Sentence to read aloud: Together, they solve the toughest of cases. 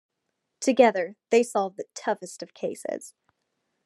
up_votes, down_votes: 2, 0